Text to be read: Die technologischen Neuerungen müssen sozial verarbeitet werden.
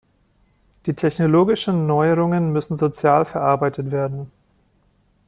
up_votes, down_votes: 2, 0